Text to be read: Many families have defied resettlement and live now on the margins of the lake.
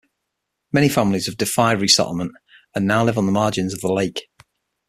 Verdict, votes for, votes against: rejected, 3, 6